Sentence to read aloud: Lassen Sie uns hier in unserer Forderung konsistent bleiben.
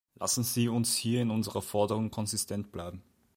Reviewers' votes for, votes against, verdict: 2, 0, accepted